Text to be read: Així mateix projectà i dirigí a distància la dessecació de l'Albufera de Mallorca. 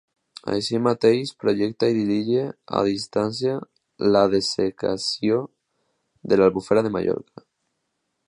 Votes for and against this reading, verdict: 1, 2, rejected